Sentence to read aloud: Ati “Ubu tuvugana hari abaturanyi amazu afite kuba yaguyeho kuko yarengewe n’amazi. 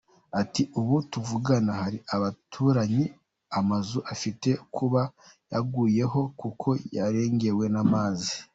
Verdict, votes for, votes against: accepted, 2, 1